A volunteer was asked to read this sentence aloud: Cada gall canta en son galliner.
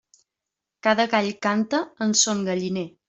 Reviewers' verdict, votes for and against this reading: accepted, 3, 0